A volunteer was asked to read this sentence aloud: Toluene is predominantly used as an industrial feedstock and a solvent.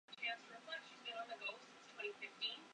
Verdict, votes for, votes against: rejected, 0, 2